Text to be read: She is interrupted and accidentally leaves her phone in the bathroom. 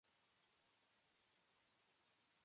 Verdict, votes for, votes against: rejected, 0, 2